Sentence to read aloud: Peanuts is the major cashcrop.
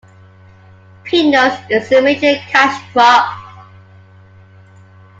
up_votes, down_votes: 1, 2